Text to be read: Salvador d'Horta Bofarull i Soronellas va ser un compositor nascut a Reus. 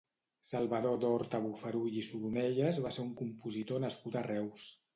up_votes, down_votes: 2, 0